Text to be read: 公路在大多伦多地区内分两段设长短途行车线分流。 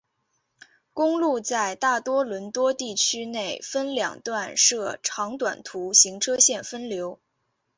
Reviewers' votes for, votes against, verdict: 3, 0, accepted